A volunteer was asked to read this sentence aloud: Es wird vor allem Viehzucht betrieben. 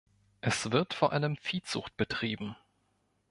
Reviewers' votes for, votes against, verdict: 2, 0, accepted